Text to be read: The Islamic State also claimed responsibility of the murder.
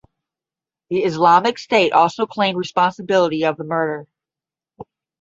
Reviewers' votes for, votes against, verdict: 0, 5, rejected